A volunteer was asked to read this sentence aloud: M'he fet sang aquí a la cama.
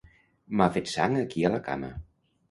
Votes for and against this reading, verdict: 1, 2, rejected